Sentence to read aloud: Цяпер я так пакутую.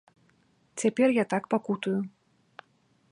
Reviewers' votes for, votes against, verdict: 1, 2, rejected